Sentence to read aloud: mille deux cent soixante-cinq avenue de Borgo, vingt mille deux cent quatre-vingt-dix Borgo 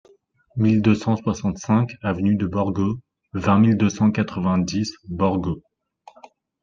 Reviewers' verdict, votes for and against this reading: accepted, 2, 0